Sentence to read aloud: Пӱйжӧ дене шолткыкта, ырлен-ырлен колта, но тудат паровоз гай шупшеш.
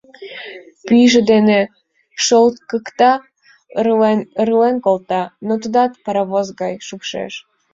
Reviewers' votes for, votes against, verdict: 2, 1, accepted